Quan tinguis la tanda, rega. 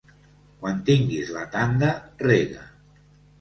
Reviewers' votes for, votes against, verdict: 2, 0, accepted